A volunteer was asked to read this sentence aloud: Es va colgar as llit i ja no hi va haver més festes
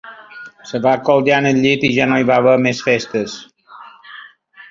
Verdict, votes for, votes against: rejected, 0, 2